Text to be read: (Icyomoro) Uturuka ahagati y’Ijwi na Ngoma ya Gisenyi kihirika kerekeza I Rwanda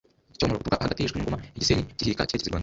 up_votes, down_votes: 1, 2